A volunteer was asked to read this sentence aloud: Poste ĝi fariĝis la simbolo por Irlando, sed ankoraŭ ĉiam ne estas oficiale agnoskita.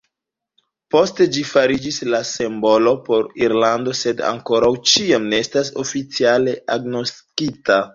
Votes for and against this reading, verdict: 1, 2, rejected